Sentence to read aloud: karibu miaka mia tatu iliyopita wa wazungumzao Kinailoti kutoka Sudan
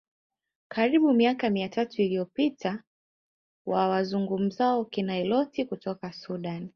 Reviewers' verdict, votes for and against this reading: accepted, 3, 0